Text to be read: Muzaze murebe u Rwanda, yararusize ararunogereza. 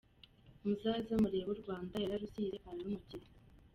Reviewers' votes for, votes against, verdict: 2, 0, accepted